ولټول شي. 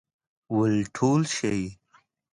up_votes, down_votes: 0, 2